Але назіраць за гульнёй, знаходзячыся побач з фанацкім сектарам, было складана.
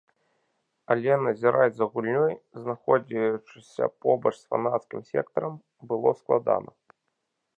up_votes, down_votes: 1, 2